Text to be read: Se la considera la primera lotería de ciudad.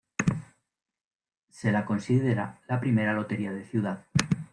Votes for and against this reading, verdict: 1, 2, rejected